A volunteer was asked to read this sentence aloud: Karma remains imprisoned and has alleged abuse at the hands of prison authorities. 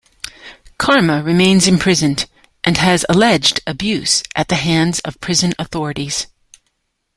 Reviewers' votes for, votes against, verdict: 2, 0, accepted